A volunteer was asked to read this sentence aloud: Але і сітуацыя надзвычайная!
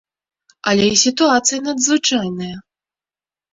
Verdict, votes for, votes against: accepted, 2, 0